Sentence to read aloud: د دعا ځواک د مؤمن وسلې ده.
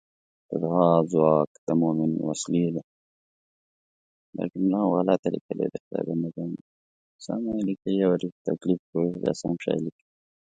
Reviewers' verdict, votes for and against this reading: rejected, 0, 2